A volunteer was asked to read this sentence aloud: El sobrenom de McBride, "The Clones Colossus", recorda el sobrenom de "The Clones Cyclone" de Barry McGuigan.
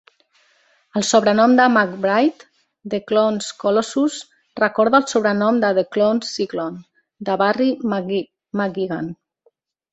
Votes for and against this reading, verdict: 1, 2, rejected